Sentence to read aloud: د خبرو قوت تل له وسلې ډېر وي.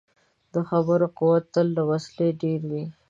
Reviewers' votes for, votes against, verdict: 2, 0, accepted